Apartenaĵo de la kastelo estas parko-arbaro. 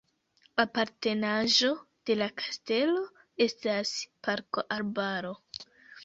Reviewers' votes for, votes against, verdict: 2, 0, accepted